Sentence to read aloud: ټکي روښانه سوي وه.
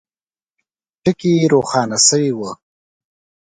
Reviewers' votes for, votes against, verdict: 2, 0, accepted